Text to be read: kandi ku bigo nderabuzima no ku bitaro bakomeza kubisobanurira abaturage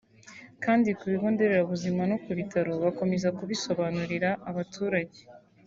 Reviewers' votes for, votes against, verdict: 2, 0, accepted